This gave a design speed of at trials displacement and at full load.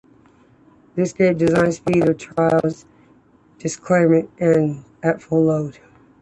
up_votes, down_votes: 2, 1